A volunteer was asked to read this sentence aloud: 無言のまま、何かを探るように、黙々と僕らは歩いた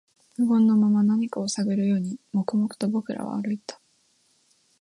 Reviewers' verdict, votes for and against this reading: accepted, 2, 0